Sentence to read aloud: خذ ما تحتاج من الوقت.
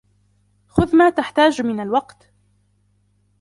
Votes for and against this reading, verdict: 3, 0, accepted